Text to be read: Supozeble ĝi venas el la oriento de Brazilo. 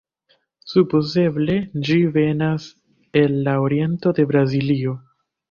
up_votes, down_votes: 1, 2